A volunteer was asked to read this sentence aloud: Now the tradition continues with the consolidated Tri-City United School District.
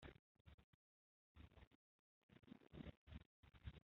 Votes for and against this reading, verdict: 0, 2, rejected